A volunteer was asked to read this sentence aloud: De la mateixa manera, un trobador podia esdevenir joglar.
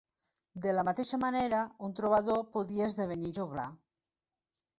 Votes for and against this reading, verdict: 3, 0, accepted